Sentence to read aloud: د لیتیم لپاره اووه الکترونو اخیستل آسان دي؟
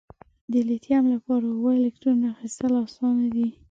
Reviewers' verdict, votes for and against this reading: accepted, 2, 0